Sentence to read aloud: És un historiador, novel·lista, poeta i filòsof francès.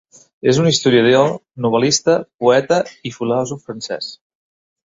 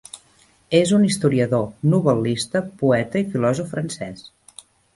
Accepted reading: second